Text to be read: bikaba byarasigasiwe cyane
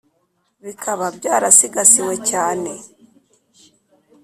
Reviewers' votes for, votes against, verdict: 2, 0, accepted